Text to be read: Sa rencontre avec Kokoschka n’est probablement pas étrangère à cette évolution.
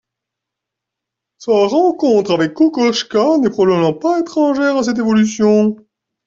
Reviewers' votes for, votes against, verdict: 2, 0, accepted